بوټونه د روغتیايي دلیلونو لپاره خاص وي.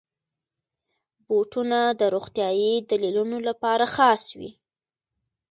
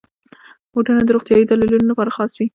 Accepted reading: first